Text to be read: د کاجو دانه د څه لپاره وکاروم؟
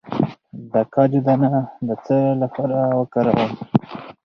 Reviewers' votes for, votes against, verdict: 4, 0, accepted